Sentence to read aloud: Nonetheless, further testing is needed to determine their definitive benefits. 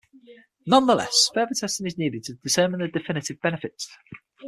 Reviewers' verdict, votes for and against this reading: rejected, 0, 6